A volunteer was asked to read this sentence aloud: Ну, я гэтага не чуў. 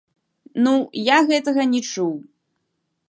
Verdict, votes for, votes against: rejected, 0, 2